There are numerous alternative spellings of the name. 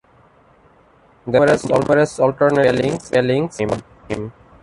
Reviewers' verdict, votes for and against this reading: rejected, 0, 2